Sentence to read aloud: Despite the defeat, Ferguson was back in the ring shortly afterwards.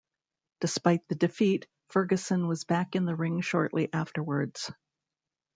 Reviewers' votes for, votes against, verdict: 1, 2, rejected